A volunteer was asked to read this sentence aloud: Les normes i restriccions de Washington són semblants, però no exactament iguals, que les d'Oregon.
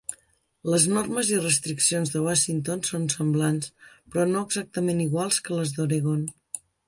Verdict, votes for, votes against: accepted, 3, 0